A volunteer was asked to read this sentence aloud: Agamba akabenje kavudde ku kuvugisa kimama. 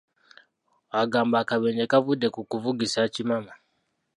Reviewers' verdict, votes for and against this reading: accepted, 2, 0